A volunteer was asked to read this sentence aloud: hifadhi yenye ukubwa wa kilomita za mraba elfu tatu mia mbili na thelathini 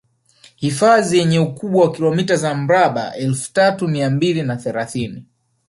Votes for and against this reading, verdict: 1, 2, rejected